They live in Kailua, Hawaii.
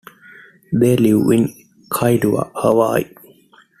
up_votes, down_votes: 2, 0